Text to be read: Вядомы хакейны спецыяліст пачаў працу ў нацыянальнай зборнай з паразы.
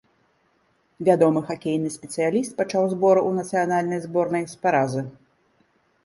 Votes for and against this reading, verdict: 0, 2, rejected